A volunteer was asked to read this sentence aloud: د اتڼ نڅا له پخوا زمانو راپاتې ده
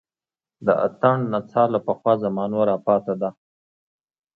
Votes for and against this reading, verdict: 2, 0, accepted